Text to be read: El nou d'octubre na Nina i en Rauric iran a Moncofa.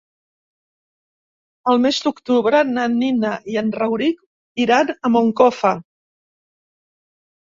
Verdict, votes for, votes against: rejected, 0, 2